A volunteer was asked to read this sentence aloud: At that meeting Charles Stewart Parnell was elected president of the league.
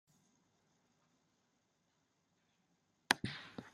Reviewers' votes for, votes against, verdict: 0, 2, rejected